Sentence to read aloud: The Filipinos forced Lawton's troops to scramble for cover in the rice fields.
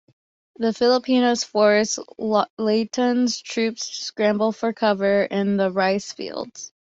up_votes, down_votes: 1, 2